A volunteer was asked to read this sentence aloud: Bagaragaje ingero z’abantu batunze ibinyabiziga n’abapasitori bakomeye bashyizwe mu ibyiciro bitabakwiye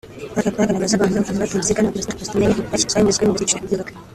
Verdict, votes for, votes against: rejected, 0, 2